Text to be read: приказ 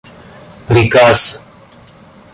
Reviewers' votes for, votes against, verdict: 2, 0, accepted